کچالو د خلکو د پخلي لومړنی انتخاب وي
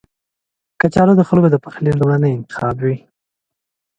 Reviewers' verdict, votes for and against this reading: accepted, 2, 0